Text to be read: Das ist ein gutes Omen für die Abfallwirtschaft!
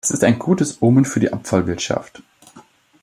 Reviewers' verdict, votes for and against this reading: rejected, 1, 2